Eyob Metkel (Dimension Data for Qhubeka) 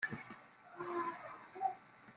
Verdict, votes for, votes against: rejected, 0, 2